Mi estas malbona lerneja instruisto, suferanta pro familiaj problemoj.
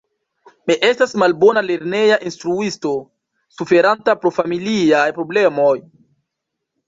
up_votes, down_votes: 1, 2